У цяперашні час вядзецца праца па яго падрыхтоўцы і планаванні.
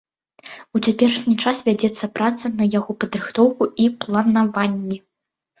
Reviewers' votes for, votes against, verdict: 0, 2, rejected